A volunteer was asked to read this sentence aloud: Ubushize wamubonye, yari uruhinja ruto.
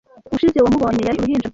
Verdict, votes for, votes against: rejected, 1, 2